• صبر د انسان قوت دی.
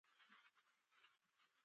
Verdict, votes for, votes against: rejected, 0, 2